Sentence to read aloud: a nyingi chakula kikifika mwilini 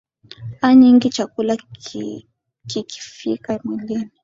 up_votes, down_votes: 5, 0